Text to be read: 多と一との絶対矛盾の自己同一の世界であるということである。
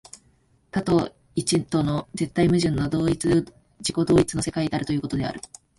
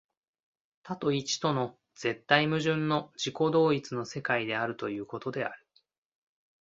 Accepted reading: second